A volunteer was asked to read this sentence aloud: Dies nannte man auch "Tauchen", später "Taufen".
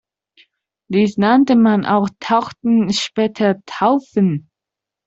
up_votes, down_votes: 0, 2